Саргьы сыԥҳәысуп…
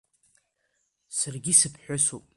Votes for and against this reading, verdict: 0, 2, rejected